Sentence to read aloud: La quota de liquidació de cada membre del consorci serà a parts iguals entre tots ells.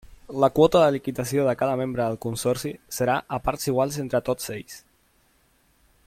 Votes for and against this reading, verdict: 0, 2, rejected